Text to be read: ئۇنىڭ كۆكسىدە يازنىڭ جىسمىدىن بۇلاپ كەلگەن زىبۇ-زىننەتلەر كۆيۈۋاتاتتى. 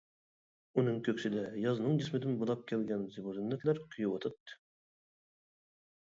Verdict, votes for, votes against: rejected, 1, 2